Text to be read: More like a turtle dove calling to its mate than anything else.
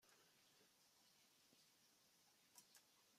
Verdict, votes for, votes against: rejected, 0, 2